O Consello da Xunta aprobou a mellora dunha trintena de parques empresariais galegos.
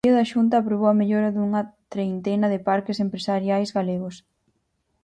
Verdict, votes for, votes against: rejected, 0, 4